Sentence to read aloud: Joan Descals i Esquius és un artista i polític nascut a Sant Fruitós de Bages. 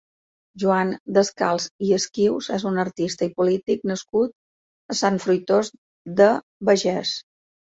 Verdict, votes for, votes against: accepted, 2, 1